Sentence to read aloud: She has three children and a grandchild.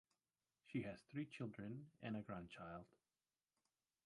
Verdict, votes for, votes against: accepted, 2, 1